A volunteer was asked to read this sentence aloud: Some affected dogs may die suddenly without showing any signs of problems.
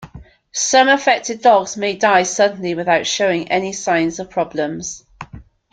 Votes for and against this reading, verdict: 2, 0, accepted